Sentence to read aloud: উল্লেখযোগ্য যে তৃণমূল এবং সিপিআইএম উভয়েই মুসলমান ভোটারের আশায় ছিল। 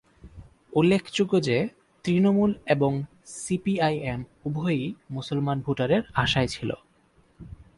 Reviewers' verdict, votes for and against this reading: accepted, 4, 0